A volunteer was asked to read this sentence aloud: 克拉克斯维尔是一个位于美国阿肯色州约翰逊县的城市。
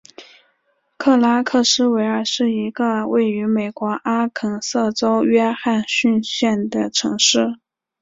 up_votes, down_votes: 2, 0